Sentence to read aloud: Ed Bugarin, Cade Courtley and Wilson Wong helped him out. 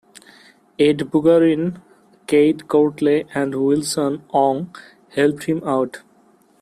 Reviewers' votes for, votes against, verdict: 2, 1, accepted